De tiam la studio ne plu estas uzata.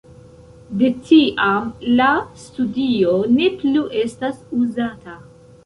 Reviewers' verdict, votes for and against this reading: accepted, 2, 0